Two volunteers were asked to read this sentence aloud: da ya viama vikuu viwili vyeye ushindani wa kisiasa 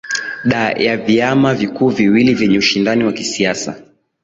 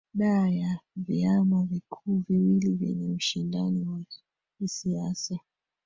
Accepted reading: first